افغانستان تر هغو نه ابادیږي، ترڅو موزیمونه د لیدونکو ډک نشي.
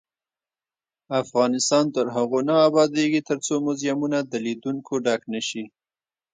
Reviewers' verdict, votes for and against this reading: accepted, 2, 0